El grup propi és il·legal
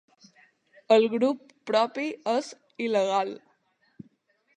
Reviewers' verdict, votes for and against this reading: accepted, 3, 0